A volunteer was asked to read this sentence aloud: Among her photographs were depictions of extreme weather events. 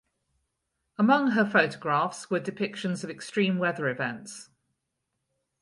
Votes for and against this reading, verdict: 2, 2, rejected